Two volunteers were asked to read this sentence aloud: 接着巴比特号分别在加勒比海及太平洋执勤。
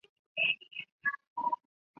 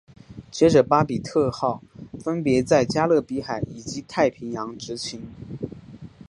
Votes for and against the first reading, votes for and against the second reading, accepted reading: 0, 3, 2, 0, second